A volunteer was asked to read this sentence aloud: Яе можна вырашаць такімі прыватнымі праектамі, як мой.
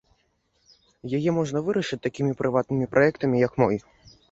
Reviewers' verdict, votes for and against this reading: rejected, 1, 2